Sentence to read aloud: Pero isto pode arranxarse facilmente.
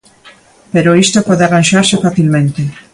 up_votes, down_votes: 1, 4